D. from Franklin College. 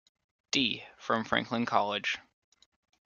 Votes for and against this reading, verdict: 2, 0, accepted